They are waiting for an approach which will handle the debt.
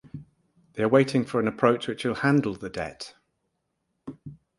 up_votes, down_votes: 4, 0